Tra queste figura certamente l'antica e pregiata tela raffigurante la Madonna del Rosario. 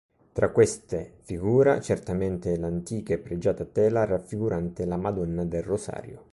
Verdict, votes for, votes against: accepted, 2, 0